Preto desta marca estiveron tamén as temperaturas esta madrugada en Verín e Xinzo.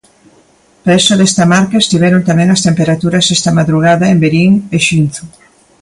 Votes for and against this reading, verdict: 0, 2, rejected